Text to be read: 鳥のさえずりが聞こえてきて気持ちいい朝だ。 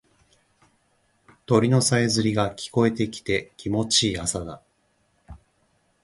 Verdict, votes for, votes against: accepted, 2, 0